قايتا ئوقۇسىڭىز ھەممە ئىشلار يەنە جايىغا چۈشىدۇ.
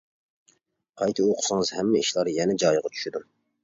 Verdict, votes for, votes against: accepted, 2, 0